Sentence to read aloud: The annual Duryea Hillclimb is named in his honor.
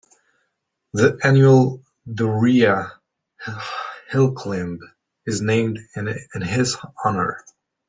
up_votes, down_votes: 2, 1